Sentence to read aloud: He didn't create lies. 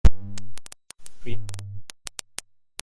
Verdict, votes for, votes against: rejected, 0, 2